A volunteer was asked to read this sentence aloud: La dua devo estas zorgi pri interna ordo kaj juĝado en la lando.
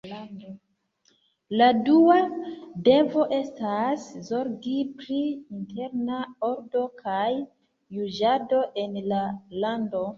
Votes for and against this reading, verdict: 1, 2, rejected